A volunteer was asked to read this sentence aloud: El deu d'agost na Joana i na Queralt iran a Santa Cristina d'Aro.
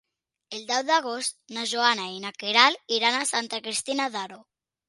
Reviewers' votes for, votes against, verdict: 3, 0, accepted